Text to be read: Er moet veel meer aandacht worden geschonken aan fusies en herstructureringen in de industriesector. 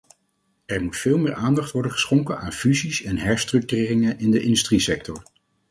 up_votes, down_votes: 4, 0